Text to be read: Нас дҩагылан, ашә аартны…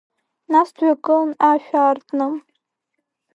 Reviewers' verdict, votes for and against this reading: accepted, 4, 1